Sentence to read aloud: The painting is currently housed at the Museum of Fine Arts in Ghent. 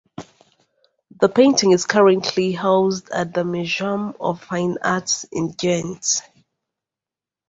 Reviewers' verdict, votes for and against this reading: rejected, 0, 2